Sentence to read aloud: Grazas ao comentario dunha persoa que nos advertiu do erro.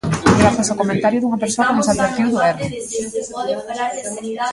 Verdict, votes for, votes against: rejected, 0, 2